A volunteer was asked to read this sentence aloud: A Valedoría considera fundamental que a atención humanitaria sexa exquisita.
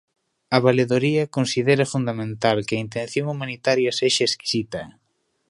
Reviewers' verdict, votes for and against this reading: rejected, 0, 2